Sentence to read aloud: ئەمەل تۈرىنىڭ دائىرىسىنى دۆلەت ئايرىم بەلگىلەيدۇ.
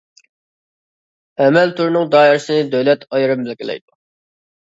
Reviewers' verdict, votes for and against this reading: rejected, 0, 2